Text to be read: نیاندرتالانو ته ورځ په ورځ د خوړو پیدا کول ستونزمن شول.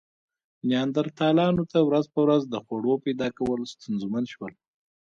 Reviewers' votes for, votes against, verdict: 1, 2, rejected